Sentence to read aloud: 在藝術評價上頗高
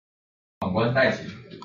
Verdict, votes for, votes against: rejected, 0, 2